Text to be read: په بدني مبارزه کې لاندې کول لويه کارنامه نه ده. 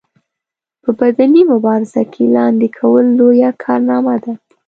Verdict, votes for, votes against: accepted, 2, 1